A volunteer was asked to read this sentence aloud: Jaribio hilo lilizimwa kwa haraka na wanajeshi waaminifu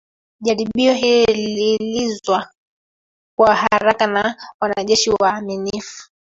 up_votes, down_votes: 0, 3